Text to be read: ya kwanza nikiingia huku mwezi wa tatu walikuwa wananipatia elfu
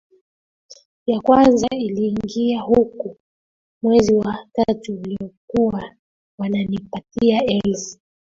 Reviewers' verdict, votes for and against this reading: rejected, 0, 2